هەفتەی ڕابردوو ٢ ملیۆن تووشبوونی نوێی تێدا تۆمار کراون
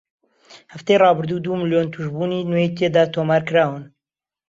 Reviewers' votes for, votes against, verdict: 0, 2, rejected